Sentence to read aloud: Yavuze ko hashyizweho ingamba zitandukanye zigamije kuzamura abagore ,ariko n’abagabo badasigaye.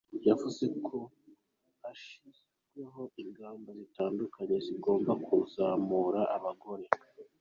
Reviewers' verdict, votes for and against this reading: rejected, 0, 2